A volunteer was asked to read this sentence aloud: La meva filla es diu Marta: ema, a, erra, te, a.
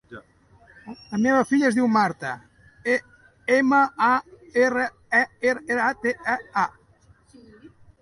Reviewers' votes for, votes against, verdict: 2, 3, rejected